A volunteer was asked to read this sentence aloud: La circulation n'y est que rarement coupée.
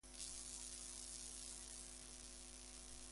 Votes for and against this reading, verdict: 0, 2, rejected